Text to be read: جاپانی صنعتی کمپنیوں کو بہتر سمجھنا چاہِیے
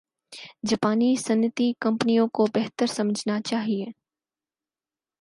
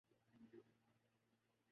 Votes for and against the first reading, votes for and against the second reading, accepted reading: 4, 0, 2, 8, first